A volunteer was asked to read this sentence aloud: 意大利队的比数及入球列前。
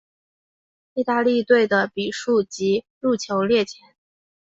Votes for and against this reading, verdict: 5, 0, accepted